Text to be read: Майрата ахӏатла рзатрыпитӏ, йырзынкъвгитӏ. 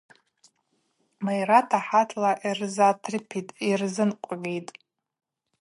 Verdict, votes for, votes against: rejected, 0, 2